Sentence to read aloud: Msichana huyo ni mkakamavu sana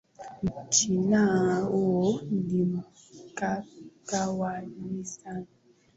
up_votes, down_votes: 1, 11